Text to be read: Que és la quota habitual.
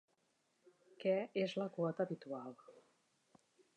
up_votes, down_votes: 0, 2